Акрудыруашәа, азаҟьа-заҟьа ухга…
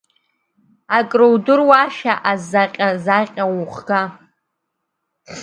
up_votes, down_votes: 1, 2